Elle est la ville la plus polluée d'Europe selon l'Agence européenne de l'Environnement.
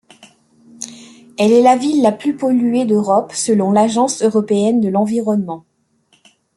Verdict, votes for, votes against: accepted, 2, 0